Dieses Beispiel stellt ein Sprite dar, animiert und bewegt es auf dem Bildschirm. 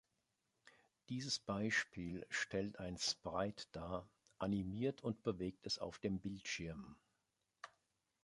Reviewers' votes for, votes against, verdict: 0, 2, rejected